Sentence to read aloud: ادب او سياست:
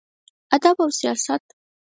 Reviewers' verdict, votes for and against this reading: rejected, 0, 4